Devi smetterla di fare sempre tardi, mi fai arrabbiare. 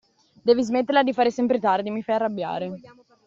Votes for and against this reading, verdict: 2, 0, accepted